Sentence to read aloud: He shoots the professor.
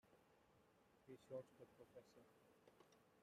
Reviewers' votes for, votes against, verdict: 0, 2, rejected